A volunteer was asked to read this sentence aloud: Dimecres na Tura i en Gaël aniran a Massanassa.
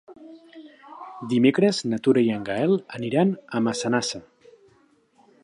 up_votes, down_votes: 2, 0